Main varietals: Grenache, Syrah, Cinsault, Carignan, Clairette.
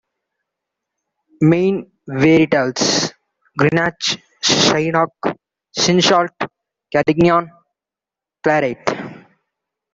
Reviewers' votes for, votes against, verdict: 0, 2, rejected